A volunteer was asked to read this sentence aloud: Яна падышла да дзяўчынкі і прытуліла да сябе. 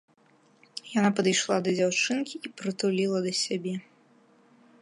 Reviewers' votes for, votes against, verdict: 2, 0, accepted